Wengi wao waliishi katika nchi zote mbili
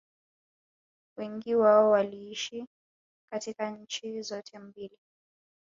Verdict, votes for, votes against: accepted, 3, 2